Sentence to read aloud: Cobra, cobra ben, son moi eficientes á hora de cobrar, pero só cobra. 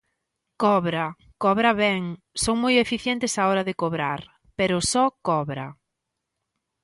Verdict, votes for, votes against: accepted, 2, 0